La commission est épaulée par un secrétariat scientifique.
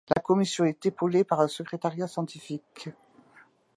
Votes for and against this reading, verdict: 2, 0, accepted